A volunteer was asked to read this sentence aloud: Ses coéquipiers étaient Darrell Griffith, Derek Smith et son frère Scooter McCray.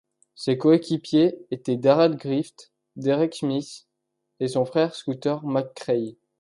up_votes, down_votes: 2, 1